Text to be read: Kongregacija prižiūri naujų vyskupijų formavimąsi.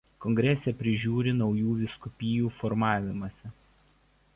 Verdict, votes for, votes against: rejected, 1, 2